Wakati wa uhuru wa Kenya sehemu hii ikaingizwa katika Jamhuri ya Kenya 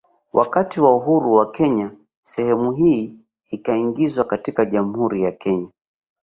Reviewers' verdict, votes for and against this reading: rejected, 1, 2